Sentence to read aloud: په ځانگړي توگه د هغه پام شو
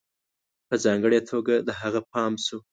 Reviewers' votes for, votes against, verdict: 2, 0, accepted